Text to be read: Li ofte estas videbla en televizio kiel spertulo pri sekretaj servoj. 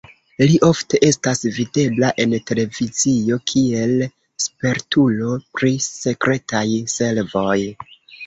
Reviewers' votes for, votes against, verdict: 1, 2, rejected